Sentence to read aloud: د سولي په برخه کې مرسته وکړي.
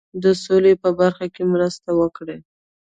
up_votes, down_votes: 1, 2